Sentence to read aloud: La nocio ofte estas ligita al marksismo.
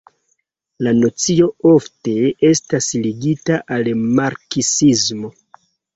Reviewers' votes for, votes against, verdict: 1, 2, rejected